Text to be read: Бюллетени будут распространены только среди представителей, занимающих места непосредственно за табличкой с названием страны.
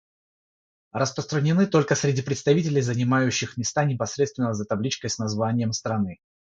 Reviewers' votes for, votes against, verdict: 3, 0, accepted